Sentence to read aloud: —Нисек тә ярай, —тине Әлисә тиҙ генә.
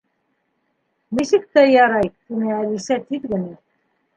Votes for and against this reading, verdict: 2, 0, accepted